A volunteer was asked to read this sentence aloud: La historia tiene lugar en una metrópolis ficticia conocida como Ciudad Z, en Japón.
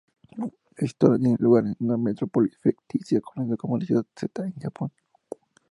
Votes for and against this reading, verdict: 2, 0, accepted